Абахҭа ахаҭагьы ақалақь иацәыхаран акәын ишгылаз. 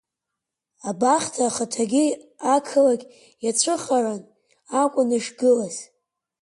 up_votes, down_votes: 3, 0